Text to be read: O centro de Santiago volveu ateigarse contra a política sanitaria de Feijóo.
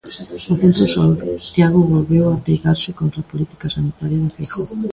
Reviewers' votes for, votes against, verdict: 0, 3, rejected